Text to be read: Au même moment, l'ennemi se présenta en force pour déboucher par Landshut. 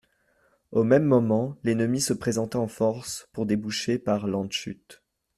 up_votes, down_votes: 2, 0